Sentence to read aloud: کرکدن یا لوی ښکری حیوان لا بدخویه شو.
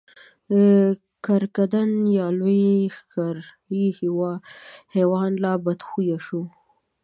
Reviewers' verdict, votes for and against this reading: accepted, 2, 1